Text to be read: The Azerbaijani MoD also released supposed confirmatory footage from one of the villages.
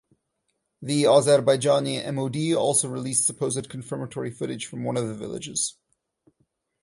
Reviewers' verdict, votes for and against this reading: rejected, 2, 2